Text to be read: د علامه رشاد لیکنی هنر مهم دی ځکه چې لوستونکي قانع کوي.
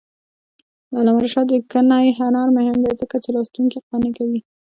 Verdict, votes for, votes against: accepted, 2, 0